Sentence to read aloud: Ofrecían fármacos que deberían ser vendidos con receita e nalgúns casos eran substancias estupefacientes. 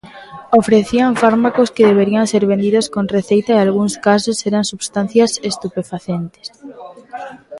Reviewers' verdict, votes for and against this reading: rejected, 0, 2